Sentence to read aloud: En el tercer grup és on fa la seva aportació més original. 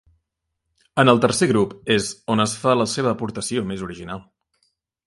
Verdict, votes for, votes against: rejected, 1, 2